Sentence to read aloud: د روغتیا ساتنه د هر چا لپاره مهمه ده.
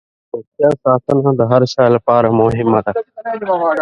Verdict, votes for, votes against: rejected, 6, 7